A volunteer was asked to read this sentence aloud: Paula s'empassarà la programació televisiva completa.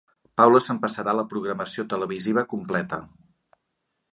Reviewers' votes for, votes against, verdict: 2, 0, accepted